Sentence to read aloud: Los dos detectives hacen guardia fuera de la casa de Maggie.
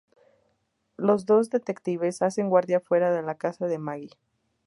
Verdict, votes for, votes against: accepted, 4, 0